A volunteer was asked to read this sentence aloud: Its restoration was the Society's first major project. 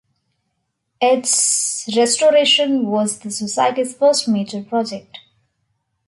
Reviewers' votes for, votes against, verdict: 2, 0, accepted